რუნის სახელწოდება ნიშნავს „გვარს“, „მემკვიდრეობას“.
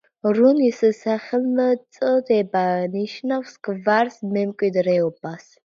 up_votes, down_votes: 0, 2